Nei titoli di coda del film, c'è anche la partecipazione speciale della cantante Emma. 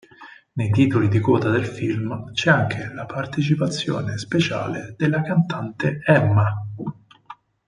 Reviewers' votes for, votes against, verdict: 2, 4, rejected